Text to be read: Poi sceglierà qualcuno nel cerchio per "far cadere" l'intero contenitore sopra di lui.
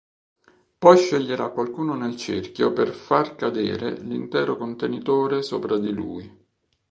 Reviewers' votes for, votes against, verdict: 2, 0, accepted